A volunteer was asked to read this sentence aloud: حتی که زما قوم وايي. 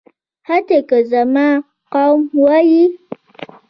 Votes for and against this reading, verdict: 1, 2, rejected